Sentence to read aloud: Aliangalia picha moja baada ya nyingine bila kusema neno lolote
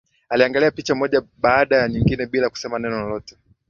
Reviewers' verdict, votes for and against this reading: accepted, 6, 3